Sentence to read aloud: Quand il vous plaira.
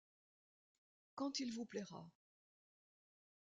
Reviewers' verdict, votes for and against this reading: accepted, 2, 1